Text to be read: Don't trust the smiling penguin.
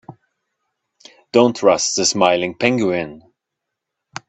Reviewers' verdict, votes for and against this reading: accepted, 2, 1